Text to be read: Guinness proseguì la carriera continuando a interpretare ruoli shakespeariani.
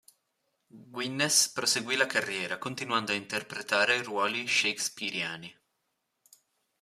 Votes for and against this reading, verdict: 1, 2, rejected